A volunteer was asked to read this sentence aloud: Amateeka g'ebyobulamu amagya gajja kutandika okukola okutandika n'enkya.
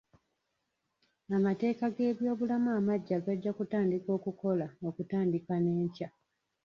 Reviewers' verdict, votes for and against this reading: rejected, 1, 2